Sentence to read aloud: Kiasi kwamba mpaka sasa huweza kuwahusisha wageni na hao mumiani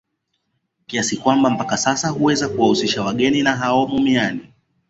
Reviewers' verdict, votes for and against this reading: accepted, 2, 1